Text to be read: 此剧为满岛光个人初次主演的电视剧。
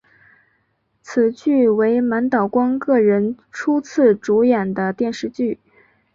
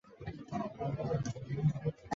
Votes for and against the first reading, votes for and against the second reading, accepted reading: 5, 0, 0, 2, first